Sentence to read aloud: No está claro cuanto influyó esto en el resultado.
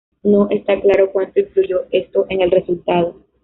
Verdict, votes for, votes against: accepted, 2, 0